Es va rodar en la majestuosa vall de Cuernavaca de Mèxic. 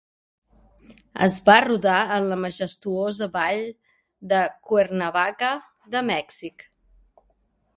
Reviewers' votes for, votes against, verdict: 5, 0, accepted